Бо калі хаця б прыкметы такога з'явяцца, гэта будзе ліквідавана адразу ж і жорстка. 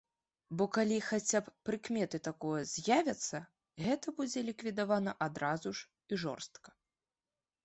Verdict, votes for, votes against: rejected, 1, 2